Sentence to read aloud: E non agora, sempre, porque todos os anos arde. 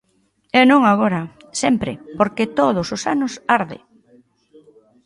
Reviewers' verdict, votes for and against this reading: accepted, 3, 0